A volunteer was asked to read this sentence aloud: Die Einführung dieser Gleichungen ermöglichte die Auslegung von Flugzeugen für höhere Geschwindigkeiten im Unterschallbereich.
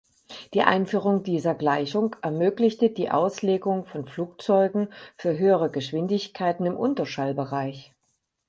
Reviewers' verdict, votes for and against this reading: rejected, 4, 6